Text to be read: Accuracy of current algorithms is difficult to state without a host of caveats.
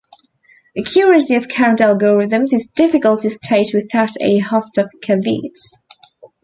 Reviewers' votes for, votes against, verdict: 0, 2, rejected